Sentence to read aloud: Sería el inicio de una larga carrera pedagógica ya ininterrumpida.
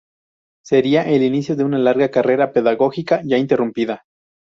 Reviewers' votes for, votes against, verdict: 0, 2, rejected